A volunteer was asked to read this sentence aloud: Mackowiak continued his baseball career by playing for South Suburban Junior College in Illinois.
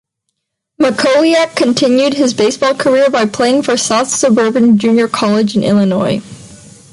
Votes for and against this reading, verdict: 4, 0, accepted